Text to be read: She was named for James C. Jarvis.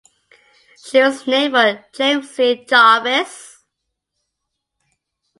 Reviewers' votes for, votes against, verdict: 2, 0, accepted